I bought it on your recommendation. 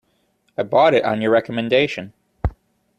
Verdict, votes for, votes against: accepted, 2, 0